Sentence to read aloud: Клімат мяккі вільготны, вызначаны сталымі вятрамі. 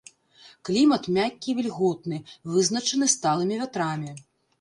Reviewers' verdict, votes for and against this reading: accepted, 2, 0